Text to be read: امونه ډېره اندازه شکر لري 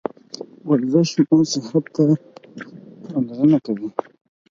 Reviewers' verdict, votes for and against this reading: rejected, 0, 4